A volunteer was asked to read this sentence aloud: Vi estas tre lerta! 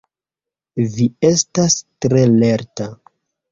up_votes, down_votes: 2, 1